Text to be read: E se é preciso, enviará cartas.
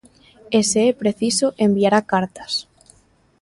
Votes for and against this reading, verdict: 3, 0, accepted